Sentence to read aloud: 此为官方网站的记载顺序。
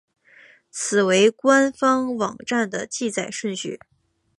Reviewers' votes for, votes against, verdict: 2, 1, accepted